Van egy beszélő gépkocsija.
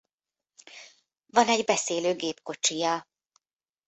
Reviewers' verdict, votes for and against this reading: accepted, 2, 1